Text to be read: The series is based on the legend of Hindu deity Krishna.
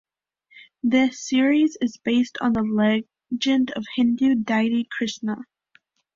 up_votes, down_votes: 1, 2